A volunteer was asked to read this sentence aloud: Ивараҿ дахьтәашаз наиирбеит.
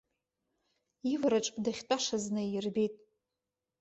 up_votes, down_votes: 1, 2